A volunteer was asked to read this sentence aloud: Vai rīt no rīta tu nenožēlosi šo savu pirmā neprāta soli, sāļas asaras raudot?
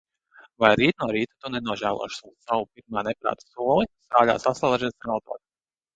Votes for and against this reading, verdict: 0, 2, rejected